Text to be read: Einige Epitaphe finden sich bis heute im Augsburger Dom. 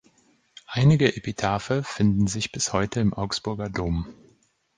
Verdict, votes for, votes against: accepted, 2, 0